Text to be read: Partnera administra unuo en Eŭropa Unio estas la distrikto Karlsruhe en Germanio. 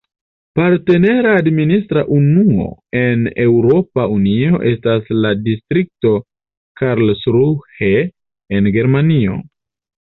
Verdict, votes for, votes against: accepted, 2, 1